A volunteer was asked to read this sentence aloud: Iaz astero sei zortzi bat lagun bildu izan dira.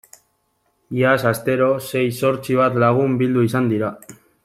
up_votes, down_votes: 1, 3